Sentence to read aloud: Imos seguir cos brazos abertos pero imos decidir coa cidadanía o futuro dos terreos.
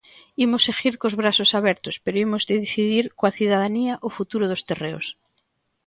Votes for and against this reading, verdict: 2, 0, accepted